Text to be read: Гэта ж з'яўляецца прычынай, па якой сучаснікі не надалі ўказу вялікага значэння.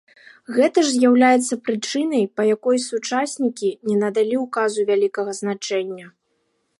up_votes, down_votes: 3, 0